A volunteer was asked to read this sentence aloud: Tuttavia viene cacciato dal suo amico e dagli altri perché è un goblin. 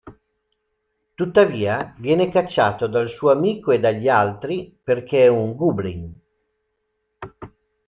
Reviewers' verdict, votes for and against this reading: rejected, 0, 2